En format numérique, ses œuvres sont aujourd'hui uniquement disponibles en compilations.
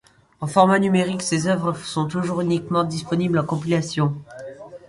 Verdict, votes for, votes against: accepted, 2, 1